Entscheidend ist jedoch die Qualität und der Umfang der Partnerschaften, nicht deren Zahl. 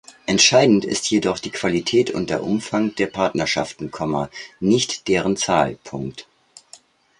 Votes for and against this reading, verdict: 0, 2, rejected